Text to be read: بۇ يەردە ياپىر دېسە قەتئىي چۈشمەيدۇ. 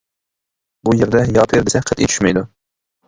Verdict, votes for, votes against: rejected, 0, 2